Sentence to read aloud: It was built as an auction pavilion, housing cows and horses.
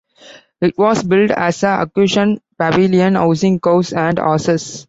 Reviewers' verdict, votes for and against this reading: rejected, 0, 2